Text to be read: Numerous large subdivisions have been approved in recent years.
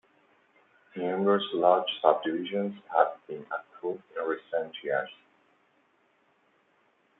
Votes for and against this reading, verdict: 2, 0, accepted